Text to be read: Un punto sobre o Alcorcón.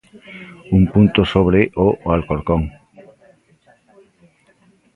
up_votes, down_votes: 1, 2